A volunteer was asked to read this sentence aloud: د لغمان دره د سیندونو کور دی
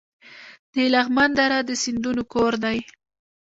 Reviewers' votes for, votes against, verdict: 2, 1, accepted